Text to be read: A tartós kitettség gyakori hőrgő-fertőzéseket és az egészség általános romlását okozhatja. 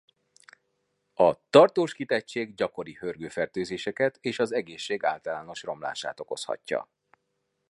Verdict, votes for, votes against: accepted, 2, 0